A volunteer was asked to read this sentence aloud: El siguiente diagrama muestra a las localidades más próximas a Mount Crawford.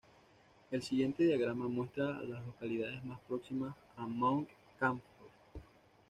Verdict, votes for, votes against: accepted, 2, 0